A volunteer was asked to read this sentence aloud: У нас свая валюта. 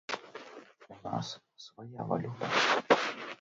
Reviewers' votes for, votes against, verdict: 0, 2, rejected